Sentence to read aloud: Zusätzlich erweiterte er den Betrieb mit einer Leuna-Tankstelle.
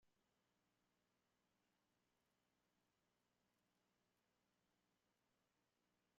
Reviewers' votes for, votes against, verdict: 0, 2, rejected